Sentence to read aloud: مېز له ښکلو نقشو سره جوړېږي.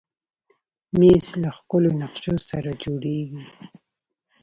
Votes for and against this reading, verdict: 2, 0, accepted